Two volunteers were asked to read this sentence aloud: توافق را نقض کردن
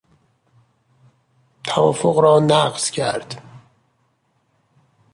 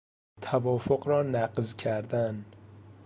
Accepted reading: second